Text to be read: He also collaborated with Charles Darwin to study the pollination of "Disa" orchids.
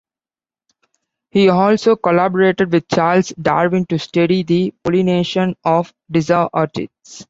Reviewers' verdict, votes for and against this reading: accepted, 2, 0